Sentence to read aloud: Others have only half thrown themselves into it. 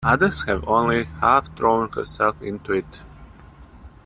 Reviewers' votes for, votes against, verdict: 2, 1, accepted